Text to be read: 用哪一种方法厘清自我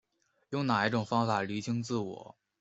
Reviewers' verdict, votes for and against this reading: rejected, 1, 2